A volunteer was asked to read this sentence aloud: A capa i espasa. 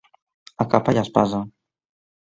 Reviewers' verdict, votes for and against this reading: accepted, 2, 0